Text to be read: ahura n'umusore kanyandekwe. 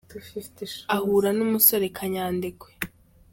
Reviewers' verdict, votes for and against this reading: accepted, 2, 1